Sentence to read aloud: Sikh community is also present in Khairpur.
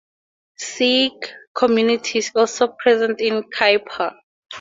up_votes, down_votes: 2, 0